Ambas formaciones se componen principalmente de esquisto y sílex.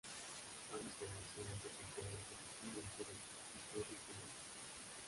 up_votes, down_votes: 0, 2